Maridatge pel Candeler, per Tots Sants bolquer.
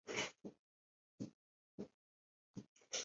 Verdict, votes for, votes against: rejected, 0, 2